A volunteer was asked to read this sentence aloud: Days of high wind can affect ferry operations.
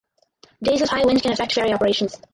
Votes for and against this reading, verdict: 2, 4, rejected